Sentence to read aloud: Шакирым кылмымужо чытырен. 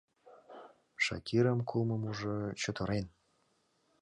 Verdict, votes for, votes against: accepted, 2, 0